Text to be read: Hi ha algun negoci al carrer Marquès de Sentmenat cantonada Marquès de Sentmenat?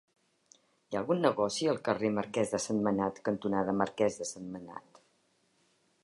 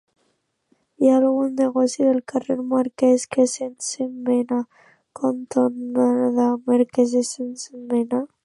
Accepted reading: first